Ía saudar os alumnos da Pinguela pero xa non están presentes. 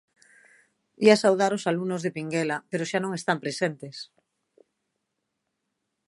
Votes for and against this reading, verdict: 1, 2, rejected